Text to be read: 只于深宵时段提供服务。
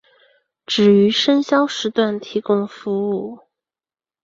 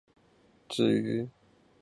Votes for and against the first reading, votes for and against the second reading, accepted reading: 2, 0, 2, 3, first